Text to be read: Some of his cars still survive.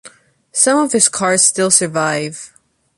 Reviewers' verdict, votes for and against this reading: accepted, 2, 0